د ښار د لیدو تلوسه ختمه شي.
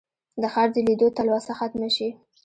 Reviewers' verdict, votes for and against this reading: rejected, 1, 2